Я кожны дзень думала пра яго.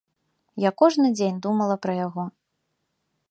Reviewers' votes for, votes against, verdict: 2, 0, accepted